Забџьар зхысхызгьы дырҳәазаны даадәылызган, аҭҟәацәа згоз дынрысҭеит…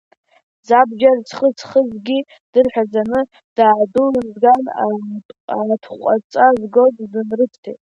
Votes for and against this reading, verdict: 1, 2, rejected